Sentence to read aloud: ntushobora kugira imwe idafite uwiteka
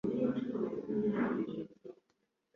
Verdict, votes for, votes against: rejected, 1, 2